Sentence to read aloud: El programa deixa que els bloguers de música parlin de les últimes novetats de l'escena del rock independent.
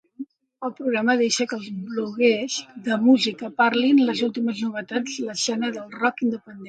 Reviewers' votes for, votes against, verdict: 2, 1, accepted